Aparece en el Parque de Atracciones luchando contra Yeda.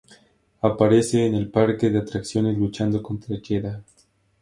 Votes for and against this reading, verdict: 4, 0, accepted